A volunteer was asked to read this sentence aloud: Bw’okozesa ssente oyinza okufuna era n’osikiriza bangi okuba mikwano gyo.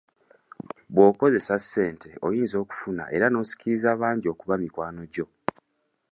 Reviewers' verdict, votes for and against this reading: accepted, 2, 0